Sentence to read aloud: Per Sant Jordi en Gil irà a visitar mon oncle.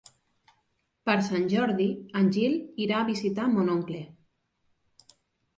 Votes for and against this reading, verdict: 4, 0, accepted